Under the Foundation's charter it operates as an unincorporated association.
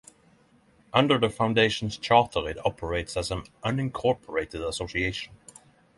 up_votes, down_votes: 3, 0